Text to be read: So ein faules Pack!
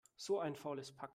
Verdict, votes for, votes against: accepted, 2, 0